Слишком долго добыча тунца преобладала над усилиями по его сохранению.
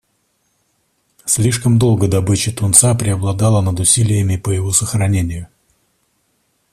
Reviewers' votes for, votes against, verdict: 2, 0, accepted